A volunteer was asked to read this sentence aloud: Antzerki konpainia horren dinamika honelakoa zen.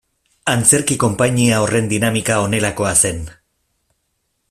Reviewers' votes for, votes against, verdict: 2, 0, accepted